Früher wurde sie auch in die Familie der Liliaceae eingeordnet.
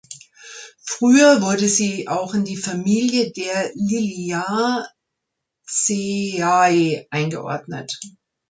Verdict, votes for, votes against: rejected, 0, 2